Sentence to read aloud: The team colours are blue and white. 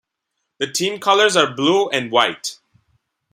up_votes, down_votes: 2, 0